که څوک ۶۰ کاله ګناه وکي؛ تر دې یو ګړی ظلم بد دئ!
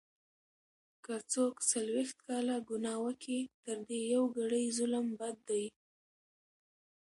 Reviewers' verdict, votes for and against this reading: rejected, 0, 2